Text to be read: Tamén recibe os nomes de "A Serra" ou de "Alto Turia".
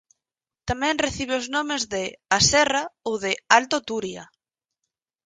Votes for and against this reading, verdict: 8, 0, accepted